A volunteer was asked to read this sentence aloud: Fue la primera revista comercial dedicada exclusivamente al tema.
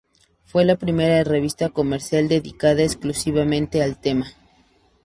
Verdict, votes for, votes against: accepted, 2, 0